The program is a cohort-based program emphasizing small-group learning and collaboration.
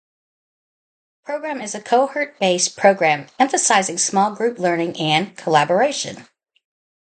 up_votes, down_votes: 0, 2